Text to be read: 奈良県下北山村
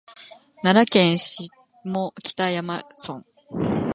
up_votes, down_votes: 0, 2